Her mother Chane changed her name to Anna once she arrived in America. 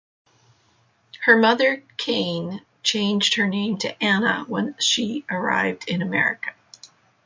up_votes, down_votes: 0, 2